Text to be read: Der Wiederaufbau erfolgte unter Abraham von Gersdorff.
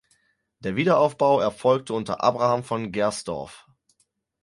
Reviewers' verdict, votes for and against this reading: accepted, 4, 0